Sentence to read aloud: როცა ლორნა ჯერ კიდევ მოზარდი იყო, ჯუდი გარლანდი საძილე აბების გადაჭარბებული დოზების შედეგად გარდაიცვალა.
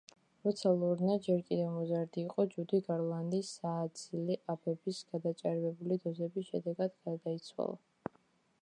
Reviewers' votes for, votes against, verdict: 0, 2, rejected